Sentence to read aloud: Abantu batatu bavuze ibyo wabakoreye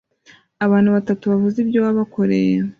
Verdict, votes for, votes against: rejected, 1, 2